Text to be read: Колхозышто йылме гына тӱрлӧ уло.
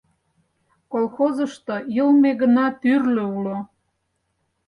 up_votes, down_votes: 4, 0